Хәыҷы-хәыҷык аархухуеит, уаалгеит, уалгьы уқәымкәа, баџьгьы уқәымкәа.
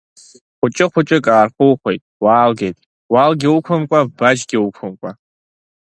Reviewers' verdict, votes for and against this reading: accepted, 3, 0